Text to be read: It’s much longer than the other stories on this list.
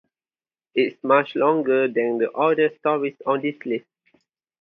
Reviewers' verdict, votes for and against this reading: accepted, 2, 0